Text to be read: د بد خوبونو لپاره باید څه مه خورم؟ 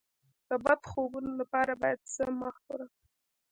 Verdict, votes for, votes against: accepted, 2, 0